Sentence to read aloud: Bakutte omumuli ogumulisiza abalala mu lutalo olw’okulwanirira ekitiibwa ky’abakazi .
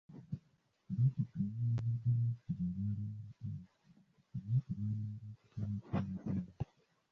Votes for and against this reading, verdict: 0, 2, rejected